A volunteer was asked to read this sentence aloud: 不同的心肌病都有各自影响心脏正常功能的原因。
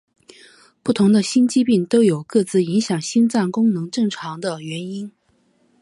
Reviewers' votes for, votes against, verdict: 2, 3, rejected